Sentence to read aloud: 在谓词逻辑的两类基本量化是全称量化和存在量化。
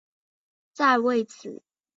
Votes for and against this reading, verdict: 1, 2, rejected